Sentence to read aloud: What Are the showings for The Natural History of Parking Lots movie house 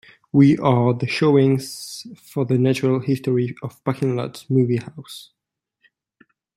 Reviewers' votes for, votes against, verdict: 1, 2, rejected